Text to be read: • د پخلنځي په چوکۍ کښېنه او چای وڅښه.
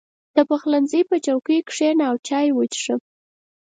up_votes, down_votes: 4, 0